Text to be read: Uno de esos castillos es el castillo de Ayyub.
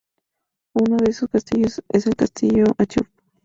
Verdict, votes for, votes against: rejected, 2, 4